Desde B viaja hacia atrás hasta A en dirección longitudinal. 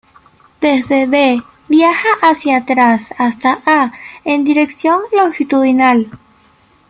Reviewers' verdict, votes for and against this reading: rejected, 0, 2